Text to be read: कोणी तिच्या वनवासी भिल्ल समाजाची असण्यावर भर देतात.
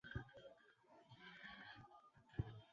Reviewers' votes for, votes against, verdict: 0, 2, rejected